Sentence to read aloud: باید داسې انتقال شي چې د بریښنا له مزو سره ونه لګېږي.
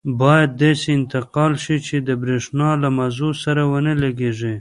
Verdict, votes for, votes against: rejected, 0, 2